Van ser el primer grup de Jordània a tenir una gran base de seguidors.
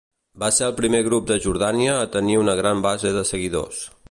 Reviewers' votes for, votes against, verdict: 0, 2, rejected